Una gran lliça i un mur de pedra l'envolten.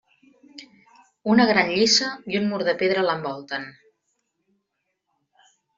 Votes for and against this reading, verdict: 2, 0, accepted